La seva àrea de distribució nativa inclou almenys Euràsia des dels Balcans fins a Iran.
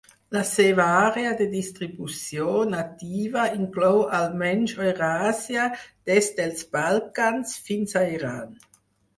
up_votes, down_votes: 0, 4